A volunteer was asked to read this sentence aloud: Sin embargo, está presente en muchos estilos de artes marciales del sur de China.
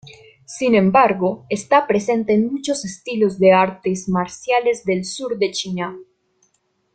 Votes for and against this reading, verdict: 2, 0, accepted